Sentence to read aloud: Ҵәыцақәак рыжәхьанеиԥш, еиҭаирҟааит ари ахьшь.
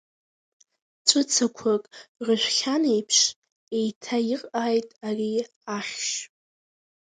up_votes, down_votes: 2, 0